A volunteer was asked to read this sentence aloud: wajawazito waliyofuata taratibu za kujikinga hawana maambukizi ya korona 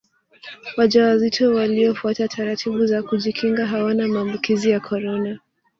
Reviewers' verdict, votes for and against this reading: accepted, 2, 0